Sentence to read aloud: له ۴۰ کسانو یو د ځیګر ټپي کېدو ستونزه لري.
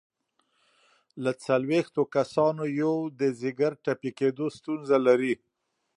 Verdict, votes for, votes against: rejected, 0, 2